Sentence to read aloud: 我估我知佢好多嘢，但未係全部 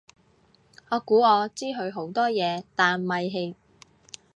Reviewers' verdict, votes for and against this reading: rejected, 0, 2